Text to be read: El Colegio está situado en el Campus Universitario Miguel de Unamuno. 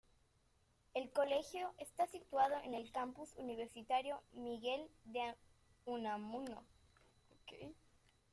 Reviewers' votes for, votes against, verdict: 1, 2, rejected